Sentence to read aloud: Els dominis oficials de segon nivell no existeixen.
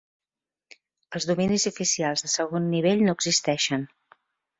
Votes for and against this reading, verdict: 1, 2, rejected